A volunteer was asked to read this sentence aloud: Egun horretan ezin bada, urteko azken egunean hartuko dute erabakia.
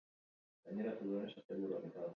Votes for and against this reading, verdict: 2, 0, accepted